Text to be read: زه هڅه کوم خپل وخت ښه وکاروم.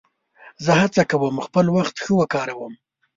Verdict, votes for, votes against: accepted, 2, 0